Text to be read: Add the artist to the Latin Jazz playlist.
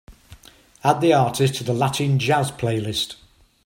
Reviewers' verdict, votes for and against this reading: accepted, 3, 0